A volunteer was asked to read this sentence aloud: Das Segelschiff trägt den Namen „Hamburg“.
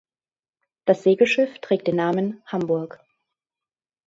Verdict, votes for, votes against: accepted, 3, 0